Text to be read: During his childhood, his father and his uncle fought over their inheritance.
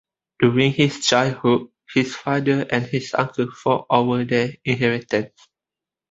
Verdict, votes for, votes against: accepted, 2, 0